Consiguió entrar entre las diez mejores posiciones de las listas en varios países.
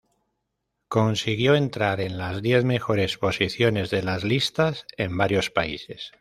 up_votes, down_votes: 1, 2